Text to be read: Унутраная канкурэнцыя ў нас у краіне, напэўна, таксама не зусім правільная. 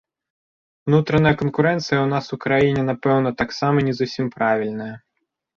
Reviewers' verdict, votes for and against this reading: accepted, 2, 0